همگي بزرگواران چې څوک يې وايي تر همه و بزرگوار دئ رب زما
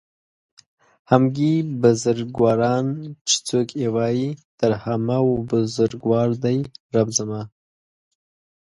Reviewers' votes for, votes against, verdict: 1, 2, rejected